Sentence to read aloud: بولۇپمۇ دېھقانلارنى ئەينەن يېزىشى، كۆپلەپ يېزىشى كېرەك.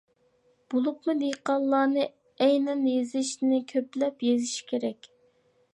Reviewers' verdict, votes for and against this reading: rejected, 0, 2